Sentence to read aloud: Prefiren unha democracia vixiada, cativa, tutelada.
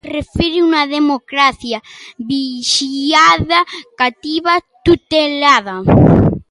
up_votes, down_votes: 1, 2